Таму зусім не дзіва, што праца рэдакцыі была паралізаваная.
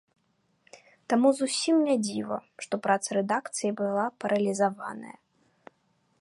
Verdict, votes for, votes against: accepted, 2, 0